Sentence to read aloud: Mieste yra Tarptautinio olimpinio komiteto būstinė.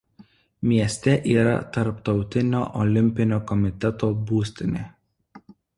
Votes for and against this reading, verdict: 2, 0, accepted